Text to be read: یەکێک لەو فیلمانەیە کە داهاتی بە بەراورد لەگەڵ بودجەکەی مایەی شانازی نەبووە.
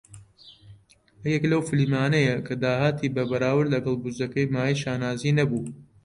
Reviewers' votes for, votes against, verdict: 0, 2, rejected